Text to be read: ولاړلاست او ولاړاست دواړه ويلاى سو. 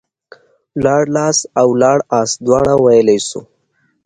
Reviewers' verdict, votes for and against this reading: accepted, 3, 0